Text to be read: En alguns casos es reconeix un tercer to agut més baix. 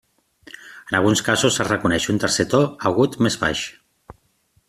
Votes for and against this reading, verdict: 2, 0, accepted